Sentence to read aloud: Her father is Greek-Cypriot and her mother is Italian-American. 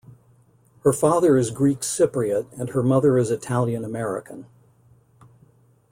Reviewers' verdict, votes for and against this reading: accepted, 2, 0